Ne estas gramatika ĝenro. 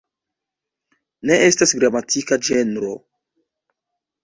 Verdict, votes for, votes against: accepted, 2, 1